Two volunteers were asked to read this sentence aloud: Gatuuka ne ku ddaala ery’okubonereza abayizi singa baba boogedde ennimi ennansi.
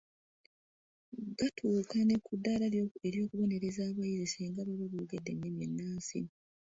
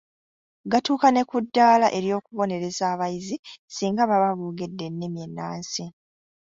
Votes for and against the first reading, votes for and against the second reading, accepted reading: 0, 2, 2, 0, second